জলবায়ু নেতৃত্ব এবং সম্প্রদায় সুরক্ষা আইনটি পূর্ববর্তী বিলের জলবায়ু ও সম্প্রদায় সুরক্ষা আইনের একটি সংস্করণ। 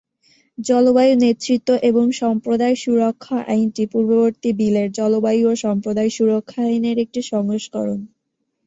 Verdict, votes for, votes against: accepted, 2, 1